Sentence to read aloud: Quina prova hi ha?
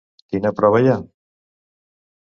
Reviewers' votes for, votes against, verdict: 2, 0, accepted